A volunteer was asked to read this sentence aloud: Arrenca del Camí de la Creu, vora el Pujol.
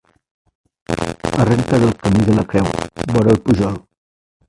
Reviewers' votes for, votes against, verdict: 1, 2, rejected